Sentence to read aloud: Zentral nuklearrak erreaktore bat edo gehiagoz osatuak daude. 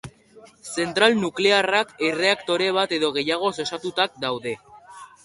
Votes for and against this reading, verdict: 2, 1, accepted